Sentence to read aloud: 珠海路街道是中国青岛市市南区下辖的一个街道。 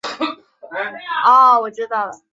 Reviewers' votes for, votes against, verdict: 1, 5, rejected